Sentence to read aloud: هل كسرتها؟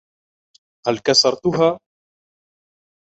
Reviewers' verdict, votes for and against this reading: rejected, 0, 2